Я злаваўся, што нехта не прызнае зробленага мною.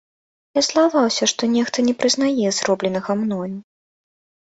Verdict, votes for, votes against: accepted, 2, 0